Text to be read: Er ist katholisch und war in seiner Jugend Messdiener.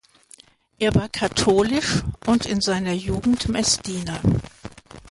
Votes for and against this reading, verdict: 0, 2, rejected